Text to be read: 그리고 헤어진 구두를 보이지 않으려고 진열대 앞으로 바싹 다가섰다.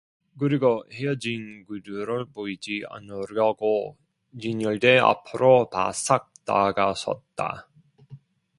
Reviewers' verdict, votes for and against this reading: rejected, 0, 2